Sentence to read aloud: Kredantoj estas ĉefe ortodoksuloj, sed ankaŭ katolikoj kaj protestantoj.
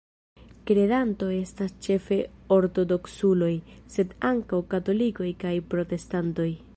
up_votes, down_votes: 2, 0